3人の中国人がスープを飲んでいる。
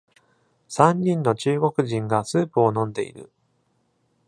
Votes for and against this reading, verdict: 0, 2, rejected